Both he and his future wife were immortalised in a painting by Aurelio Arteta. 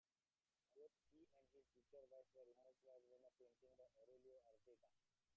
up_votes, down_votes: 0, 2